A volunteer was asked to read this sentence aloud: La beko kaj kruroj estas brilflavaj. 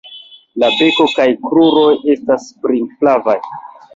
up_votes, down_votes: 0, 2